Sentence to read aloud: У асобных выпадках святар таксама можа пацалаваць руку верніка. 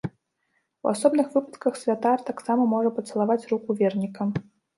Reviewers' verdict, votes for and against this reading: rejected, 0, 2